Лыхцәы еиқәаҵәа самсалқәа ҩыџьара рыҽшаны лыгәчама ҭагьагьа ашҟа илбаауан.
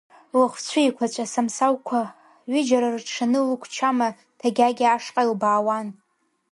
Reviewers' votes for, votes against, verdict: 1, 3, rejected